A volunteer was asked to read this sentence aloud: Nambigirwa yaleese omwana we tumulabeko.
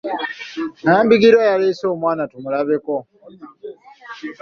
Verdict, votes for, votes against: rejected, 0, 2